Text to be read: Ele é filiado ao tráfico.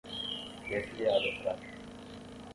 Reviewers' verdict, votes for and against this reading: rejected, 5, 10